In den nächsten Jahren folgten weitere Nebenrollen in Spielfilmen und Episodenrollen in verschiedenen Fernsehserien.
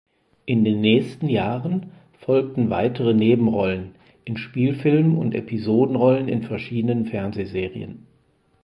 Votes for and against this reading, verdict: 4, 0, accepted